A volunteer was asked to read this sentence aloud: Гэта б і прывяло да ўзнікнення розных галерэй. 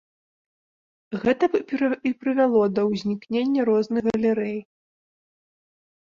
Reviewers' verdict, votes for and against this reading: rejected, 0, 2